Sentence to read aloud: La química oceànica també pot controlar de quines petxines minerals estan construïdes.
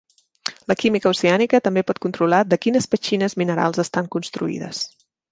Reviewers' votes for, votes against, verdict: 3, 0, accepted